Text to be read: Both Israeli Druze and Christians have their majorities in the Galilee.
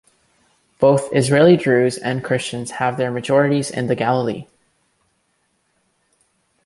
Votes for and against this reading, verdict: 2, 0, accepted